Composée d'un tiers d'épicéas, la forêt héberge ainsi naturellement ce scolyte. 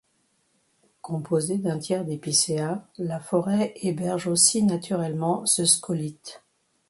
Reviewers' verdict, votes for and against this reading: rejected, 1, 2